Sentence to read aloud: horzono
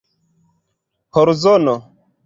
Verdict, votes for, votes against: accepted, 3, 1